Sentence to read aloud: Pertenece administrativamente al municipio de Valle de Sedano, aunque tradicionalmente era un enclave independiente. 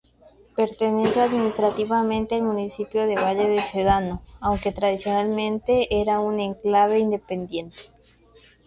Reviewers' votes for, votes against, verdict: 2, 0, accepted